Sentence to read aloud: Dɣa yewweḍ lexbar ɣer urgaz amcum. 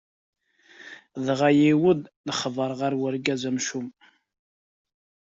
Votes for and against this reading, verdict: 3, 0, accepted